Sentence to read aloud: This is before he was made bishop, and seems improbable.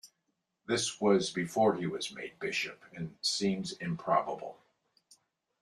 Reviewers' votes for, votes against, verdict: 0, 2, rejected